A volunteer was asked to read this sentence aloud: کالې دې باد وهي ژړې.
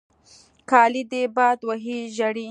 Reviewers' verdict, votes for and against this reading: accepted, 2, 0